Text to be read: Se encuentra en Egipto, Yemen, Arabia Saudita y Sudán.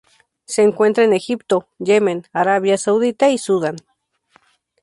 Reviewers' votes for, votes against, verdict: 2, 0, accepted